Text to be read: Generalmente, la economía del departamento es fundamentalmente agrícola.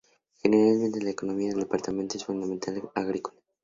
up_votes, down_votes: 0, 2